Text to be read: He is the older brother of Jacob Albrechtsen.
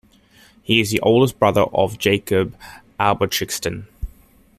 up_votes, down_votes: 0, 2